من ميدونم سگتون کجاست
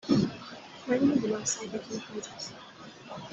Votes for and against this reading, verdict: 1, 2, rejected